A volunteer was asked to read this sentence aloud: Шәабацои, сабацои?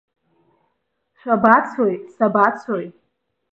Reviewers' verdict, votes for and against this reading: accepted, 2, 0